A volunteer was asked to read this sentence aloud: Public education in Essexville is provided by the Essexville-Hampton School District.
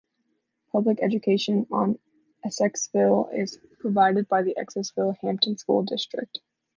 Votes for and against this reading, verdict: 2, 1, accepted